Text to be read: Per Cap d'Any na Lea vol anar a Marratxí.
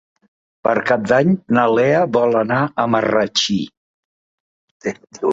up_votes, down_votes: 1, 2